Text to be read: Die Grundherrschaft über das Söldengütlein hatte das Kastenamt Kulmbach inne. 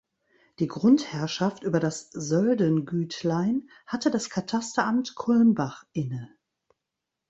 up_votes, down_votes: 0, 2